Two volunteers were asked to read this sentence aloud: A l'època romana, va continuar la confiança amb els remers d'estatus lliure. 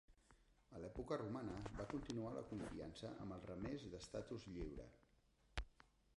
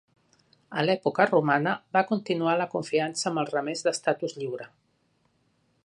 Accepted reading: second